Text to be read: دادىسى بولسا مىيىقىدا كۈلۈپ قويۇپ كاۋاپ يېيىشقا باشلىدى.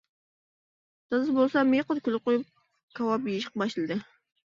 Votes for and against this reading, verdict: 1, 2, rejected